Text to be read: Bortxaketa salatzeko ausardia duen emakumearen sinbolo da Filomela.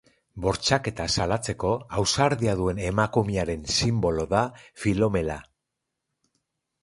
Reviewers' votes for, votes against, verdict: 2, 2, rejected